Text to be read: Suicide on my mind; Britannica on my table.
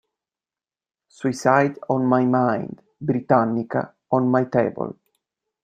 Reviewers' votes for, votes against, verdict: 2, 0, accepted